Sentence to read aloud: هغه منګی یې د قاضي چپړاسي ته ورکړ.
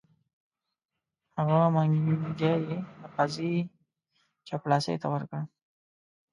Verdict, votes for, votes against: rejected, 1, 2